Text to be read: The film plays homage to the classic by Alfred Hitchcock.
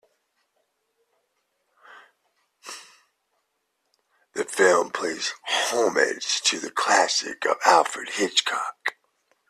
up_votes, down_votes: 0, 2